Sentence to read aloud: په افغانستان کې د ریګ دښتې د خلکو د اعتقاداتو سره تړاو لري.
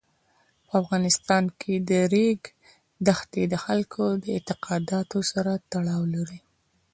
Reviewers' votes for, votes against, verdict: 2, 0, accepted